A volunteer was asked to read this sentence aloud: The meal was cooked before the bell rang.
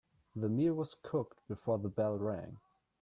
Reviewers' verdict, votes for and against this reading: accepted, 2, 0